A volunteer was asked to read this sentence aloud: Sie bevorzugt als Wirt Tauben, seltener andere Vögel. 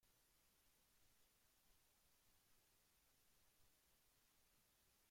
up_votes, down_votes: 0, 2